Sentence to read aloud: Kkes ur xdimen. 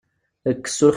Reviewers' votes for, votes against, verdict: 0, 2, rejected